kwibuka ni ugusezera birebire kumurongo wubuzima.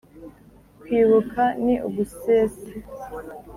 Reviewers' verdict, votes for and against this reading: rejected, 0, 2